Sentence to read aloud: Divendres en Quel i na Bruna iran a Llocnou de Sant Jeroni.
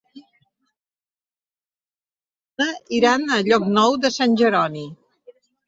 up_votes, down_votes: 0, 2